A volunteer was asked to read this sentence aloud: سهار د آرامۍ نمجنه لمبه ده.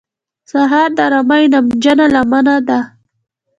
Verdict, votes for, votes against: accepted, 2, 0